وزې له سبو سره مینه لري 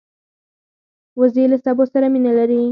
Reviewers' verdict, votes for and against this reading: rejected, 0, 4